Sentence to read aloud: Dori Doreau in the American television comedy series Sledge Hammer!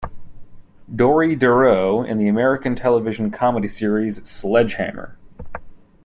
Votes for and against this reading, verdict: 2, 0, accepted